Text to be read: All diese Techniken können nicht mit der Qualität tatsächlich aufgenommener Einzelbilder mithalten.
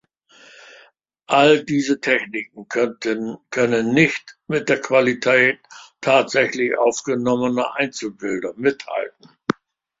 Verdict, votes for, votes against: rejected, 0, 2